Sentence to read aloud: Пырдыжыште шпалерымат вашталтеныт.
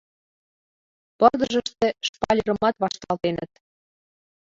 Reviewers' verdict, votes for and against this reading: accepted, 2, 0